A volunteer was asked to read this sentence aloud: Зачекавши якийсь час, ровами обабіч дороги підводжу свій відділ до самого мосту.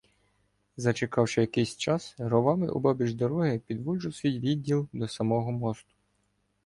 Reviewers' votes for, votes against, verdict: 2, 0, accepted